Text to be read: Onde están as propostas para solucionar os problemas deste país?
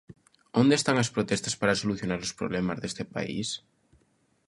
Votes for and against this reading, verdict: 0, 3, rejected